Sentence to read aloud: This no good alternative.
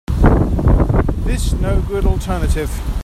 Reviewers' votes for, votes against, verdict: 2, 0, accepted